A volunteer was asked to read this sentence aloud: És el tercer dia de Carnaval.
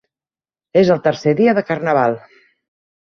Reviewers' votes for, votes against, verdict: 3, 0, accepted